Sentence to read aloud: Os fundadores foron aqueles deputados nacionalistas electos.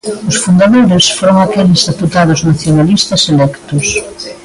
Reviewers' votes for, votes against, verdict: 0, 2, rejected